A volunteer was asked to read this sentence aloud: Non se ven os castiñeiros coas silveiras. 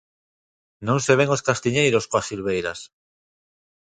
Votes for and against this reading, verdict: 2, 0, accepted